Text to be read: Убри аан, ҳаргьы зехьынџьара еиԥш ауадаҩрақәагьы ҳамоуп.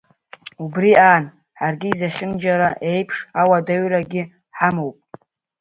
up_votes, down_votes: 0, 2